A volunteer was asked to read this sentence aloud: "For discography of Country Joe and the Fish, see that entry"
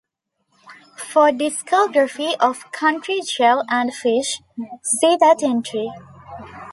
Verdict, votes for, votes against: accepted, 2, 0